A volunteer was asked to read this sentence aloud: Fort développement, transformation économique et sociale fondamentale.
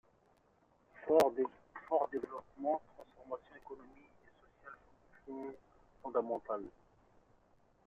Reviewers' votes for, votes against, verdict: 2, 0, accepted